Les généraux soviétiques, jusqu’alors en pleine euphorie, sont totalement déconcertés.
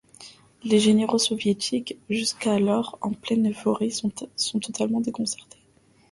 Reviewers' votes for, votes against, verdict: 0, 2, rejected